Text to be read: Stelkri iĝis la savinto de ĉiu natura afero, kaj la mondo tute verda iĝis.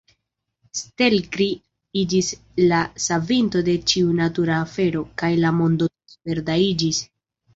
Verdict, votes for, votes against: accepted, 2, 0